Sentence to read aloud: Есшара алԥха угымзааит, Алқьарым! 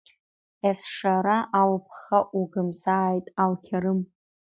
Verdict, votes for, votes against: accepted, 2, 0